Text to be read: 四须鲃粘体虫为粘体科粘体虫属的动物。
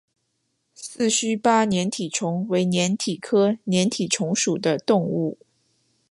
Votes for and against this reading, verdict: 2, 1, accepted